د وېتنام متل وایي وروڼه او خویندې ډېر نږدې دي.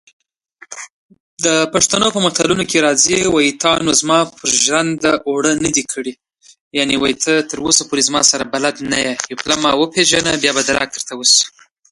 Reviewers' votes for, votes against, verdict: 1, 2, rejected